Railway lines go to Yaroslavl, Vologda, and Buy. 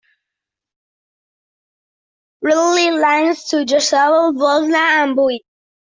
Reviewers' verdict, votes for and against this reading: rejected, 0, 2